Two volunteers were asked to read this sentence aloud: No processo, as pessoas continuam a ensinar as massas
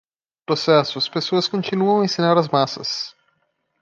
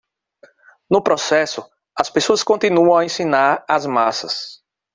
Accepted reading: second